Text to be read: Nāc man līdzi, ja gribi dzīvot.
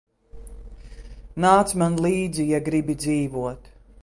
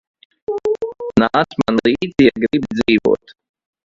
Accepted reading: first